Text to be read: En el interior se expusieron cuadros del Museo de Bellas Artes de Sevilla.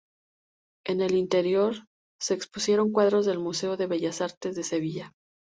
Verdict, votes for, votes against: accepted, 2, 0